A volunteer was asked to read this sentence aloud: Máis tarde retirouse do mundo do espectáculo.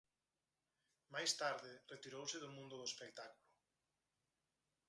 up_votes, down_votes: 2, 4